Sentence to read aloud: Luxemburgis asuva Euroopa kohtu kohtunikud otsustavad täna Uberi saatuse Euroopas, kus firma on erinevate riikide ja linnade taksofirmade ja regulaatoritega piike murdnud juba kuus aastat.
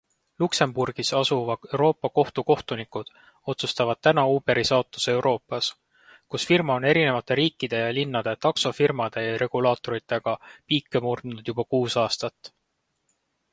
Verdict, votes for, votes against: accepted, 2, 0